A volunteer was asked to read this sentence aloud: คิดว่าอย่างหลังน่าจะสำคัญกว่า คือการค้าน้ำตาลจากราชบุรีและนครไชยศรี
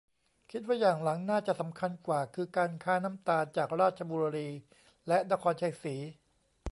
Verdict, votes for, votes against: accepted, 2, 0